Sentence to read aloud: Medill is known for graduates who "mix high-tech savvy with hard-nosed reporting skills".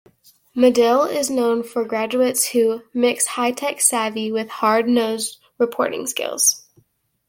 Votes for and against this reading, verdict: 1, 2, rejected